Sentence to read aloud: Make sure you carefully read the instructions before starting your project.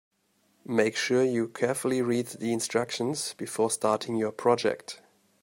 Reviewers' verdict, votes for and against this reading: accepted, 2, 0